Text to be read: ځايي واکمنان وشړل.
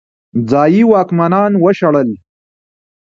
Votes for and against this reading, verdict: 0, 2, rejected